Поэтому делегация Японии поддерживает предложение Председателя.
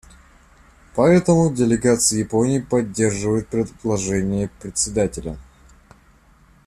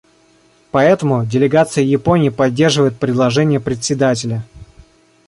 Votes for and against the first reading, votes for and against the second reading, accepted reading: 0, 2, 2, 0, second